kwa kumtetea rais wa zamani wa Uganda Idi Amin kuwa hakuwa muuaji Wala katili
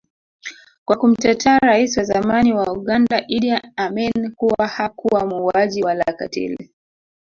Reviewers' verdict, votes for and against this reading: rejected, 1, 2